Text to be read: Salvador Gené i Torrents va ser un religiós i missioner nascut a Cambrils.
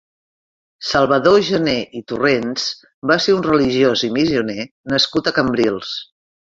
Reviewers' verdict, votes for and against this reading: rejected, 0, 2